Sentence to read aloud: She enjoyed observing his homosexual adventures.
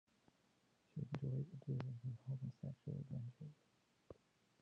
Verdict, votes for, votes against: rejected, 0, 2